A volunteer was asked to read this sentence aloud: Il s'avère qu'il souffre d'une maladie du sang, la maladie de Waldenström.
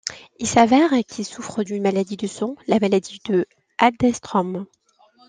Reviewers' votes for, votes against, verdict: 1, 2, rejected